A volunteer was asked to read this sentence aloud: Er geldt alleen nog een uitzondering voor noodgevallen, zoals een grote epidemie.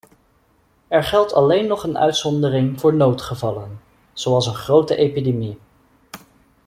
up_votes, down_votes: 2, 0